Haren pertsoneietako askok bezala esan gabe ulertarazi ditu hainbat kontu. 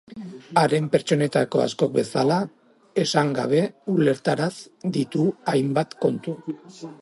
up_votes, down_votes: 0, 2